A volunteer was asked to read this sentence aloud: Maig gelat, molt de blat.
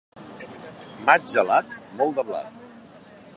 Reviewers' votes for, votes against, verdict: 2, 0, accepted